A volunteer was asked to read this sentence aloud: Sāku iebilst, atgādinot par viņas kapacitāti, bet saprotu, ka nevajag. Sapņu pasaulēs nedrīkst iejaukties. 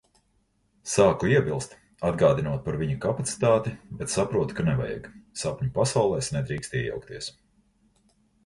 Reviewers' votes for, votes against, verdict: 0, 2, rejected